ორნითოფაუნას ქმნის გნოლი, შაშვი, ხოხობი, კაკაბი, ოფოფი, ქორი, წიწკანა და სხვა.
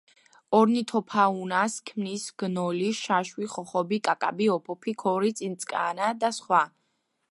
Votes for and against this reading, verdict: 2, 1, accepted